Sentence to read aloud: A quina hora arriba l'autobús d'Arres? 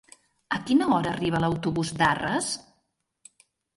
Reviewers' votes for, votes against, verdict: 3, 0, accepted